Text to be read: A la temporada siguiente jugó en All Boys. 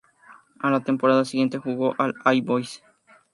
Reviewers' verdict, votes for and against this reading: accepted, 2, 0